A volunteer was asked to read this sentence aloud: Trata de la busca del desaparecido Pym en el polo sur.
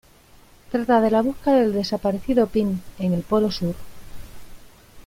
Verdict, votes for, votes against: accepted, 2, 0